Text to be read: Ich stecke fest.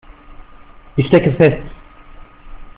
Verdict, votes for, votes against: rejected, 1, 2